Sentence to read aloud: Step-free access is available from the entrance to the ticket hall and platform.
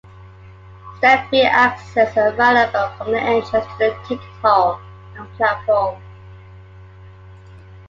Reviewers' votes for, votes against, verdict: 0, 3, rejected